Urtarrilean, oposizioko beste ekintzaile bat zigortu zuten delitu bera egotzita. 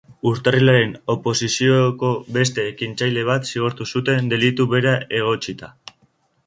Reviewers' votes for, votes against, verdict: 0, 2, rejected